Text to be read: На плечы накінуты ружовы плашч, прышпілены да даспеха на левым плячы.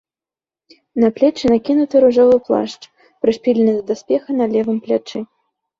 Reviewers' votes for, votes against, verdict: 2, 0, accepted